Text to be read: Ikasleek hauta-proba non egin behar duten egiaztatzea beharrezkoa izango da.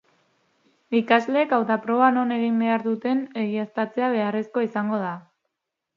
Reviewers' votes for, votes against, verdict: 2, 0, accepted